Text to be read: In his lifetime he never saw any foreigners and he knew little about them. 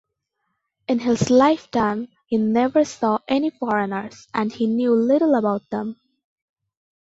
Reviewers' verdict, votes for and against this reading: accepted, 2, 0